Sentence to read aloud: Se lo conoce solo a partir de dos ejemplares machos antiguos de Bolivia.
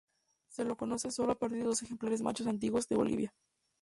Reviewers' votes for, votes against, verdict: 0, 4, rejected